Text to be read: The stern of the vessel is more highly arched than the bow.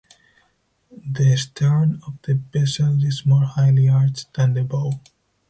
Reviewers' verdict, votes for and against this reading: rejected, 2, 2